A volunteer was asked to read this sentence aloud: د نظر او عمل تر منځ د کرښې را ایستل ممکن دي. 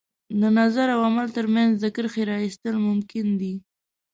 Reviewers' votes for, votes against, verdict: 2, 0, accepted